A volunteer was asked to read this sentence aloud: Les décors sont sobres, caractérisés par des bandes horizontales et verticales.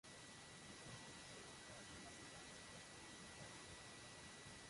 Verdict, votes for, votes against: rejected, 0, 2